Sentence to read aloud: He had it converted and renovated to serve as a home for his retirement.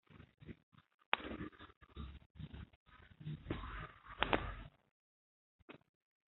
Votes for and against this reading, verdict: 0, 2, rejected